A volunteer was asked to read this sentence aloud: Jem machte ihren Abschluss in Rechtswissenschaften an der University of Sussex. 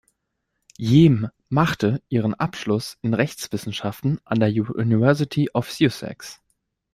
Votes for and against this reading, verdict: 1, 2, rejected